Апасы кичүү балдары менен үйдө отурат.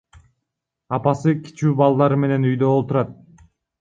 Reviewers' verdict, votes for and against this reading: rejected, 0, 2